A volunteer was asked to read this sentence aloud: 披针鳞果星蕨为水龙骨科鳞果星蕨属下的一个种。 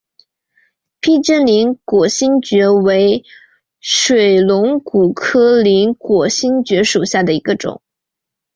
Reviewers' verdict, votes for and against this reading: rejected, 1, 3